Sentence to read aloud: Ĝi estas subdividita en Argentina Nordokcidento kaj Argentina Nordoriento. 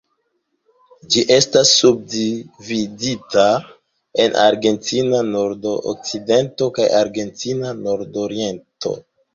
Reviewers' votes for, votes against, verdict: 0, 2, rejected